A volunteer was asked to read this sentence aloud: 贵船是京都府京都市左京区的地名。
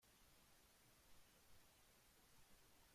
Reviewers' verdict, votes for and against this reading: rejected, 0, 2